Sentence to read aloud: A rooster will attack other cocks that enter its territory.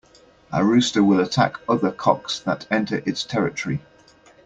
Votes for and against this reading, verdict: 2, 0, accepted